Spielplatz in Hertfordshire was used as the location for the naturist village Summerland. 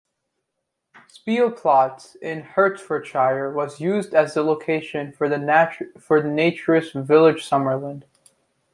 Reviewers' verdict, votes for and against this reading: rejected, 1, 2